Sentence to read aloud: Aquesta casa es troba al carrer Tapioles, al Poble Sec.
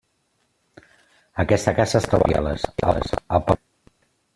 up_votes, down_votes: 0, 2